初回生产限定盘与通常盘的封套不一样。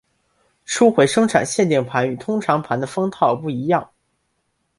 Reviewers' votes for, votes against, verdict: 2, 0, accepted